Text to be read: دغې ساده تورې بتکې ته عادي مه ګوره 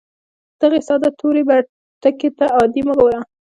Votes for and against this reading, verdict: 2, 0, accepted